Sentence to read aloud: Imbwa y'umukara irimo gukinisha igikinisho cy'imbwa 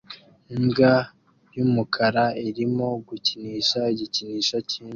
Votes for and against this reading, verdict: 2, 1, accepted